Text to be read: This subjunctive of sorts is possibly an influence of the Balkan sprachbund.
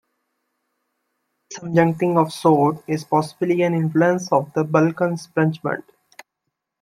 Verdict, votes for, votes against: rejected, 0, 2